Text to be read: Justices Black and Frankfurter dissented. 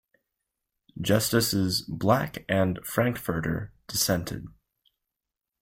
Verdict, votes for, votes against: accepted, 2, 0